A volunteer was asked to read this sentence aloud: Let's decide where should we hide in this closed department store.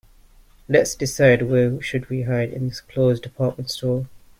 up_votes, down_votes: 0, 2